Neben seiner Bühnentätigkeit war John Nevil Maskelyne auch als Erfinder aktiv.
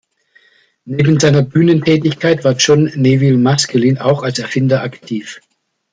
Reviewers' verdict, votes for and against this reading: accepted, 2, 0